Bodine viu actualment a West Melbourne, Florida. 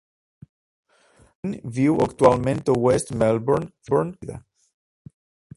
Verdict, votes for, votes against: rejected, 1, 2